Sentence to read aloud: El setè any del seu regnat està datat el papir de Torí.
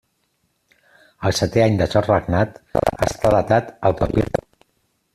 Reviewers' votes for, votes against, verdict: 0, 2, rejected